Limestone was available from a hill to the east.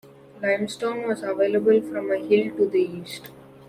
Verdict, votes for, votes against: accepted, 2, 0